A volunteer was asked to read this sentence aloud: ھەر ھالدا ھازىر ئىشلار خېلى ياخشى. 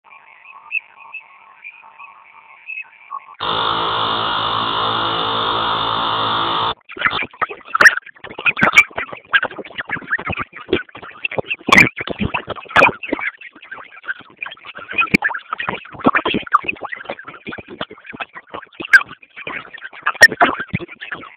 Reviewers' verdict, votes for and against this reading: rejected, 0, 2